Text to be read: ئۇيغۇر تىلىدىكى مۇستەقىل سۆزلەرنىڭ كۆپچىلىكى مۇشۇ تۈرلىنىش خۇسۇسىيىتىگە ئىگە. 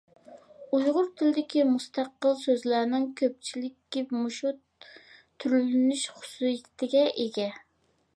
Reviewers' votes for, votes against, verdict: 1, 2, rejected